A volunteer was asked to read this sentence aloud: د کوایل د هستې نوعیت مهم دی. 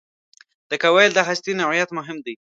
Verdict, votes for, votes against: accepted, 3, 0